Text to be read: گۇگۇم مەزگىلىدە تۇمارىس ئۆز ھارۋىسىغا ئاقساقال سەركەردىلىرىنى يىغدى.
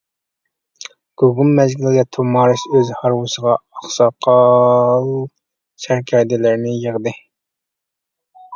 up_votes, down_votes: 1, 2